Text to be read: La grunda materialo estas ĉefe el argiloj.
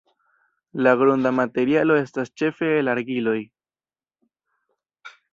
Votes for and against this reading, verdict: 1, 2, rejected